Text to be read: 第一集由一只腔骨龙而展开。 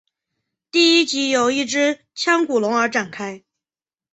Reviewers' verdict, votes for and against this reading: accepted, 7, 0